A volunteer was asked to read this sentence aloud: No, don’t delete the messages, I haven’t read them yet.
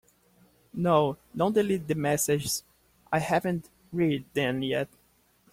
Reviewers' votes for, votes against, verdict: 0, 2, rejected